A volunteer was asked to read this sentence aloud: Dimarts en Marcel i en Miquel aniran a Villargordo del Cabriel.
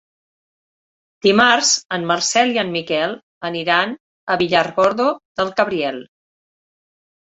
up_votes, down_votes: 4, 0